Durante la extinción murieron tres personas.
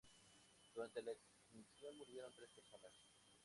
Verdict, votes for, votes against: rejected, 0, 2